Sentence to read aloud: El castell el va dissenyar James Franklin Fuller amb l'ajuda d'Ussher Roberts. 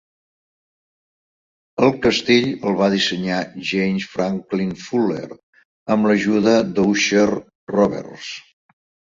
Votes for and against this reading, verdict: 2, 0, accepted